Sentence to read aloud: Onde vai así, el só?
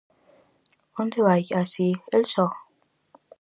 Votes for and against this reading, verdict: 4, 0, accepted